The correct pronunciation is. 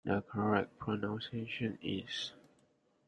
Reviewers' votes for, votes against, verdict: 0, 2, rejected